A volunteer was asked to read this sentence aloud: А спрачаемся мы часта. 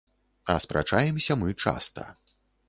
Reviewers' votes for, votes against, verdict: 2, 0, accepted